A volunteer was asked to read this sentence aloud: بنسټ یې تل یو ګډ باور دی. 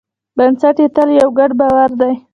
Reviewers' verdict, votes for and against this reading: rejected, 0, 2